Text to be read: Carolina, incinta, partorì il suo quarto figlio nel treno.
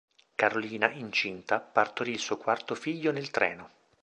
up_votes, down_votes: 2, 0